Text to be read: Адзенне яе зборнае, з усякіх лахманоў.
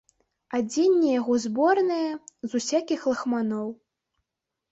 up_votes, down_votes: 1, 2